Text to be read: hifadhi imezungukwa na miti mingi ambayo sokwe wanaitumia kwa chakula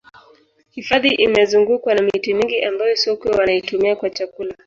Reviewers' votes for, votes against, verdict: 1, 2, rejected